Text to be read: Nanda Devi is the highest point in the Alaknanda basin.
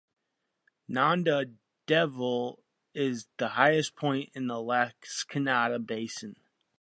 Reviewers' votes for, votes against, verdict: 0, 2, rejected